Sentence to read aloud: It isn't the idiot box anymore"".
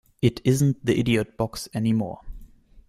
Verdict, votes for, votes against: accepted, 2, 0